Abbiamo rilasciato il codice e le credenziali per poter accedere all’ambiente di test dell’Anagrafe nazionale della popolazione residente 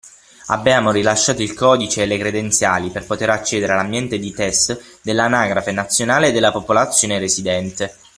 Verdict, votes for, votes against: rejected, 3, 6